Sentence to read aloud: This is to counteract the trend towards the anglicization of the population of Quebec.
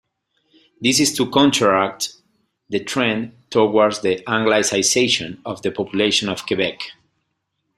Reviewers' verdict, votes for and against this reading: rejected, 0, 2